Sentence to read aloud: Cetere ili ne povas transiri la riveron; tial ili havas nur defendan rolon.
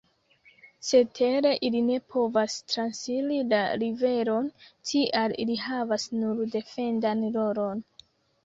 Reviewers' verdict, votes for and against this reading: accepted, 2, 1